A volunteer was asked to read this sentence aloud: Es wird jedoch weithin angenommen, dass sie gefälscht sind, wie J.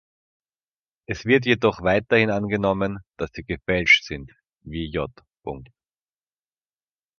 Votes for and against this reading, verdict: 3, 1, accepted